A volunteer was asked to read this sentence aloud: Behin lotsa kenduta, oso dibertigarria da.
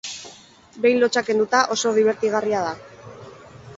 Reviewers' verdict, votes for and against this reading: accepted, 2, 0